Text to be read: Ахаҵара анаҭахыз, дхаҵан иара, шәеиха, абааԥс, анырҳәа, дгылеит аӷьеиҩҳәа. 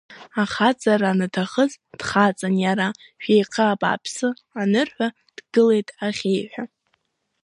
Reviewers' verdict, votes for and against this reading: accepted, 3, 0